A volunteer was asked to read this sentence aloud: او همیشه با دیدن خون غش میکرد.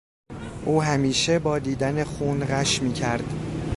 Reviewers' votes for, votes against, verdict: 2, 0, accepted